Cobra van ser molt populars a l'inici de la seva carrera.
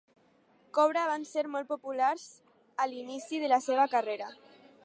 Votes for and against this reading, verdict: 2, 0, accepted